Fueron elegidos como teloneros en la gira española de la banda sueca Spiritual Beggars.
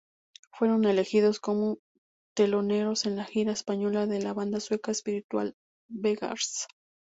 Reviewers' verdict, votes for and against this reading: rejected, 2, 2